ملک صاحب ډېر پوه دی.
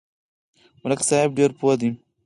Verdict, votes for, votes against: rejected, 0, 4